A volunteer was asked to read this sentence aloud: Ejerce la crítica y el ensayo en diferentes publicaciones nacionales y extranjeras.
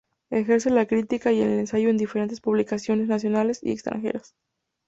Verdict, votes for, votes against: accepted, 2, 0